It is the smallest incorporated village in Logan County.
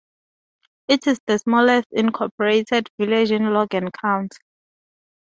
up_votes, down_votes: 2, 0